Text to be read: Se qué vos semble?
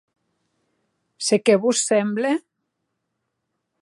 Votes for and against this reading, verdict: 2, 0, accepted